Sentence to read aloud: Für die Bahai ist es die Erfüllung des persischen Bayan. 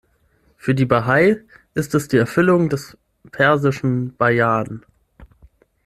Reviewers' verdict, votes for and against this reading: accepted, 6, 0